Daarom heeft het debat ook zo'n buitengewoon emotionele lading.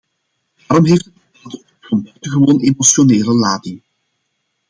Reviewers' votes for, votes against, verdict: 0, 2, rejected